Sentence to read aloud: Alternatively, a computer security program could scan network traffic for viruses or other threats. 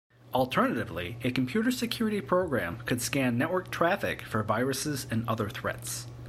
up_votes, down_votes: 0, 2